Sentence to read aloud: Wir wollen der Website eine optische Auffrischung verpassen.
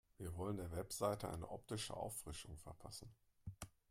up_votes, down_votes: 1, 2